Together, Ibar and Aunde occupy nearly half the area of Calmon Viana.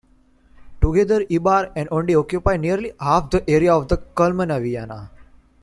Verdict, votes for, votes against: accepted, 2, 1